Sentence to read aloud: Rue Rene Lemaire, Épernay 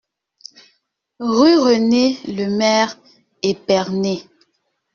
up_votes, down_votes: 2, 1